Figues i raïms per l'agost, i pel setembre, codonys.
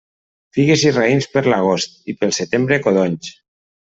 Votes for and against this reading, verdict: 2, 0, accepted